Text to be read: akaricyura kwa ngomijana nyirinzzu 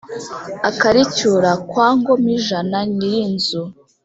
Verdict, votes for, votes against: accepted, 4, 0